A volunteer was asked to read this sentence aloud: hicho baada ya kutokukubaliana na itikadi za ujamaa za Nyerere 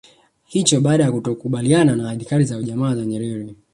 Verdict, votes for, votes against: accepted, 2, 1